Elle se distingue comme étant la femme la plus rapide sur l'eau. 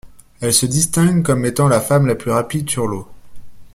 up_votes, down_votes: 2, 0